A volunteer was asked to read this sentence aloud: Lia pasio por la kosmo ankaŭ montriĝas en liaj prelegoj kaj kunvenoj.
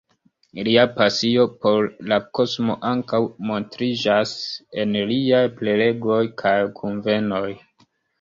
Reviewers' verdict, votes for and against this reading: rejected, 0, 2